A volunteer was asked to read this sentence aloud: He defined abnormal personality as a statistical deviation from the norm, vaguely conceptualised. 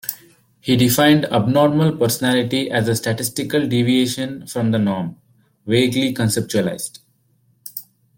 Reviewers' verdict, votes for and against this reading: rejected, 1, 2